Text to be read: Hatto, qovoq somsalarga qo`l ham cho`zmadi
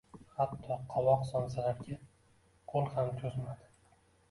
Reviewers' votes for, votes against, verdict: 2, 1, accepted